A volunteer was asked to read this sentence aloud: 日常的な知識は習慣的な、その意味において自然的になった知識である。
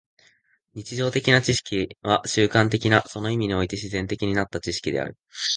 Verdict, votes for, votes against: accepted, 2, 0